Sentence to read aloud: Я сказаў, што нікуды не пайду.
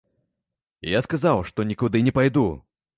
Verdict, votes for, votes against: accepted, 2, 0